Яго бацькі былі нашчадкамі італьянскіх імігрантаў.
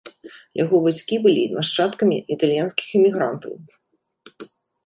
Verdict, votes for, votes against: accepted, 2, 0